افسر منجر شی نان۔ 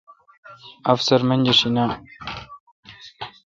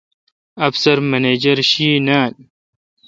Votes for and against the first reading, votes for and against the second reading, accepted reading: 2, 0, 1, 2, first